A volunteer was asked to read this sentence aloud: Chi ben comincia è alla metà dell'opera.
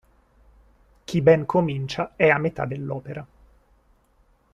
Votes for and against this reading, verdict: 1, 2, rejected